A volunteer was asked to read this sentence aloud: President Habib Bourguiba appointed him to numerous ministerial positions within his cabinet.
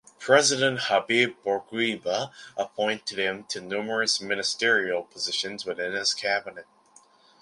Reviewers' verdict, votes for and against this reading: accepted, 2, 1